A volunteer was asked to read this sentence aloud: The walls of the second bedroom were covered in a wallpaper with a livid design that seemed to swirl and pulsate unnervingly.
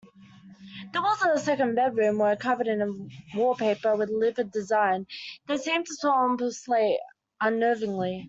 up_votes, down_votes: 1, 2